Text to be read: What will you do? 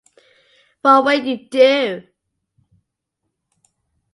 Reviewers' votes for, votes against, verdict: 1, 2, rejected